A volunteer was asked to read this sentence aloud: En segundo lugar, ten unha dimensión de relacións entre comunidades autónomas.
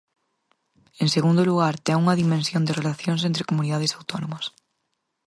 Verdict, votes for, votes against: accepted, 4, 0